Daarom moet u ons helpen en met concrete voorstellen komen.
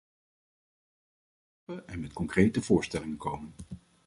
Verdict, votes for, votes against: rejected, 0, 2